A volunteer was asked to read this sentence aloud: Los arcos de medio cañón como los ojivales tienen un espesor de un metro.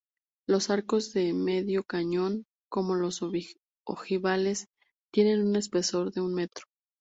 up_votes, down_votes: 2, 2